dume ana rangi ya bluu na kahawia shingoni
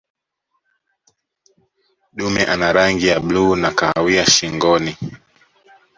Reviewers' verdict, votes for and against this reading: accepted, 2, 1